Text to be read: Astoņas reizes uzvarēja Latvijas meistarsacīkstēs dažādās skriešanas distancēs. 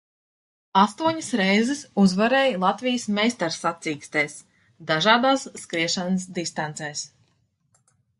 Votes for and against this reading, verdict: 2, 0, accepted